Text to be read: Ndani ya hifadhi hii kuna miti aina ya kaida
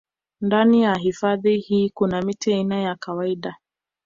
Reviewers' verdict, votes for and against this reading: rejected, 0, 2